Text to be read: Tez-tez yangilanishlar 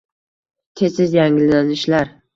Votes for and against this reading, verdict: 2, 0, accepted